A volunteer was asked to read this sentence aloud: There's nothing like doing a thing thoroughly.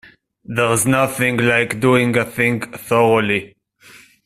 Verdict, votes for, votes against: accepted, 2, 1